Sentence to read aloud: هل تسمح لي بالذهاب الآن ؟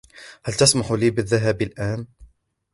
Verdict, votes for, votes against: accepted, 2, 0